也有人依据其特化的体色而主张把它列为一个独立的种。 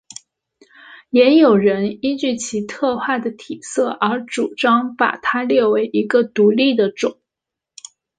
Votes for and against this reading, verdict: 2, 1, accepted